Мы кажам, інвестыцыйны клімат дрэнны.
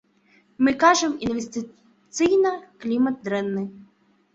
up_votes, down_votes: 0, 2